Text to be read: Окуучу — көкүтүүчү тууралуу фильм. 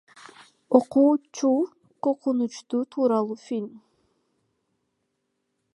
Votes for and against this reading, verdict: 1, 2, rejected